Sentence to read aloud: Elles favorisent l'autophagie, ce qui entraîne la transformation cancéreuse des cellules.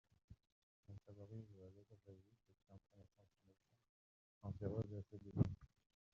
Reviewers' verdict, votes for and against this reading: rejected, 0, 2